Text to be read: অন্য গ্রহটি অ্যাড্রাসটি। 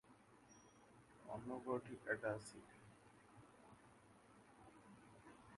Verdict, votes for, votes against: rejected, 0, 2